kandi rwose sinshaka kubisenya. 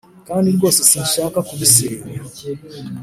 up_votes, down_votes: 2, 0